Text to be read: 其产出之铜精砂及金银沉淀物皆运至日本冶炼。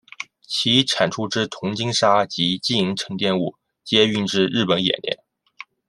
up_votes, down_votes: 2, 0